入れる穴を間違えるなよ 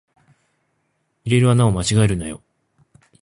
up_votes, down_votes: 2, 0